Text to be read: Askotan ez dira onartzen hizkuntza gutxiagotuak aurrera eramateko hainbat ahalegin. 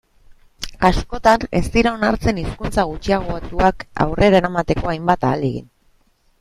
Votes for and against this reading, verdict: 2, 0, accepted